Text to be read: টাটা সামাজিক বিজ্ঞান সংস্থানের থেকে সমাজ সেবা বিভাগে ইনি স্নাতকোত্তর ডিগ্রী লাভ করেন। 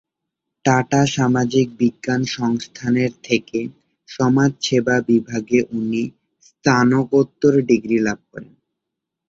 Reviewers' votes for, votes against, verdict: 1, 2, rejected